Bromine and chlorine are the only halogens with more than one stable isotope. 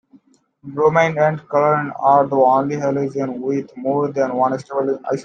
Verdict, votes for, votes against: rejected, 1, 2